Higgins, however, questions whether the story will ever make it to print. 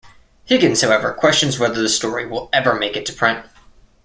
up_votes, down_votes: 2, 0